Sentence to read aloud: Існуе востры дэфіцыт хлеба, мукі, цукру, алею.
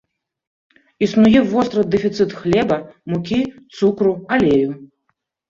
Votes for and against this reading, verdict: 2, 0, accepted